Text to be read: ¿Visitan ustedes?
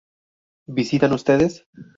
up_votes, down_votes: 6, 0